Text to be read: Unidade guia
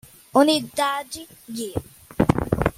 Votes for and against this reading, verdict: 2, 0, accepted